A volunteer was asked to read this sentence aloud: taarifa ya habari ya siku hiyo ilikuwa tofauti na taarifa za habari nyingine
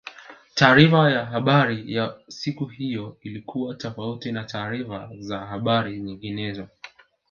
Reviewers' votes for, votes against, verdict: 1, 2, rejected